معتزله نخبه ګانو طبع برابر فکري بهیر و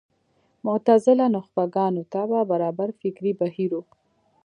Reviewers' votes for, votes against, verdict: 2, 0, accepted